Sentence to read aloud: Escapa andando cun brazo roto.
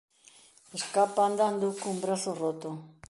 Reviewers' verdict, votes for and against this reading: accepted, 2, 0